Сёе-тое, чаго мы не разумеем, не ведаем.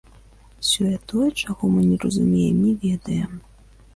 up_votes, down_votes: 2, 0